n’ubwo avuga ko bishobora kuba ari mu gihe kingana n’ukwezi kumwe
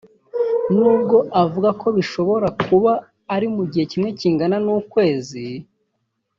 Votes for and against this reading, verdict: 1, 2, rejected